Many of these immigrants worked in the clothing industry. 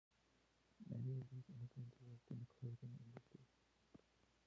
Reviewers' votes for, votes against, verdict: 0, 2, rejected